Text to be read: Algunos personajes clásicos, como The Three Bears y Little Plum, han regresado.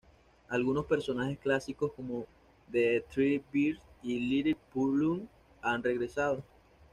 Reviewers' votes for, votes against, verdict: 1, 2, rejected